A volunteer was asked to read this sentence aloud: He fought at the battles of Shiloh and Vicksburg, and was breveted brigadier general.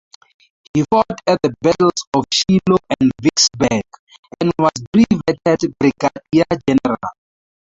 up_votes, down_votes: 0, 2